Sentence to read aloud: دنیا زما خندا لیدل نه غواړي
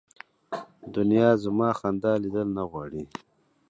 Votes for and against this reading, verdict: 2, 0, accepted